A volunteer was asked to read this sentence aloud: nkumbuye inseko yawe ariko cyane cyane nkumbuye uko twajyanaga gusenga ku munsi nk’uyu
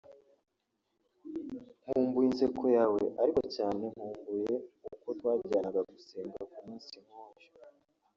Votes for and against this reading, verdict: 1, 2, rejected